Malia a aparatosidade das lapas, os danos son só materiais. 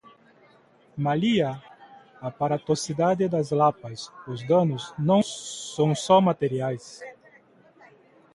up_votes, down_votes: 0, 2